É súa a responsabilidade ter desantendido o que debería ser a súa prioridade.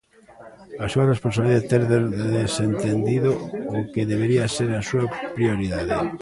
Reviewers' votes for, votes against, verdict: 0, 2, rejected